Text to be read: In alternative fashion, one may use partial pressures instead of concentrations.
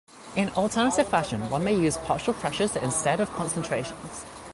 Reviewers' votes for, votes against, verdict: 2, 0, accepted